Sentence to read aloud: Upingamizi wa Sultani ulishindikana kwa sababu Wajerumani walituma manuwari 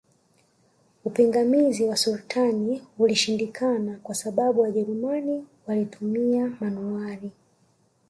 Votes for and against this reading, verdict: 0, 2, rejected